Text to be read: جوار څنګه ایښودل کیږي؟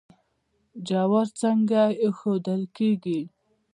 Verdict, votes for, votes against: accepted, 2, 0